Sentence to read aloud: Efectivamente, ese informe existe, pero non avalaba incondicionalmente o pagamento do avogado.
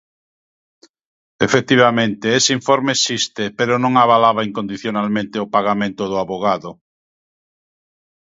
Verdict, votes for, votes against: accepted, 2, 0